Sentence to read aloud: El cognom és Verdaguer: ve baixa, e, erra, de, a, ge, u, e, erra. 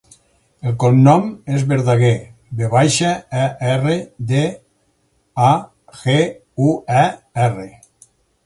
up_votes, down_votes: 2, 4